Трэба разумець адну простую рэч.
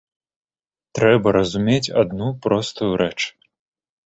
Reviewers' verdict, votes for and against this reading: accepted, 2, 0